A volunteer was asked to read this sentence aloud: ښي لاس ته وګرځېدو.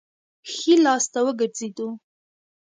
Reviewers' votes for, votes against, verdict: 2, 0, accepted